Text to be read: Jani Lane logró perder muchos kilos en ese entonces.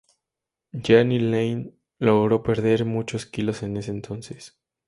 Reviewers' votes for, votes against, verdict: 0, 2, rejected